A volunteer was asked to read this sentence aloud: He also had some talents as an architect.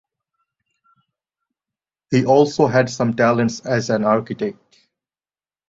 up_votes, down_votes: 2, 0